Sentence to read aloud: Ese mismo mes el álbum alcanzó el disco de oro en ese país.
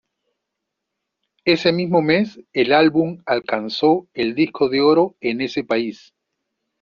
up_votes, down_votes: 1, 2